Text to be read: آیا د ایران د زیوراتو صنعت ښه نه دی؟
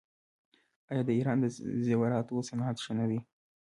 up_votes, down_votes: 2, 0